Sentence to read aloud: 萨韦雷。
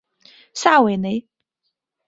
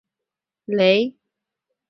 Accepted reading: first